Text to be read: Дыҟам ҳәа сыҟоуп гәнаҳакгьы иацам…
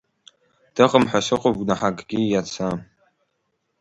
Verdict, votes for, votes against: rejected, 0, 2